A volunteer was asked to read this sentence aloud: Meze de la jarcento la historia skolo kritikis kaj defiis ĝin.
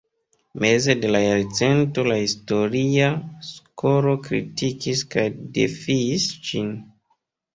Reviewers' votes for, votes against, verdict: 1, 2, rejected